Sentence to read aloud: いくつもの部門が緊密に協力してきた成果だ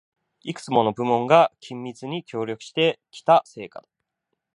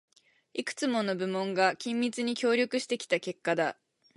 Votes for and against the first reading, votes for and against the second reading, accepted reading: 2, 0, 2, 10, first